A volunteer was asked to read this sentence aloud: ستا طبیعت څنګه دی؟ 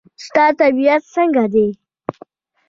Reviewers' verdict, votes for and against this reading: rejected, 1, 2